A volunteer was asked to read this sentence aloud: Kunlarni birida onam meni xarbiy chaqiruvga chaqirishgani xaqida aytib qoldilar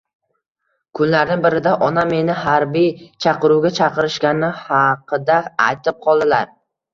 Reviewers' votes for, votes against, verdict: 2, 0, accepted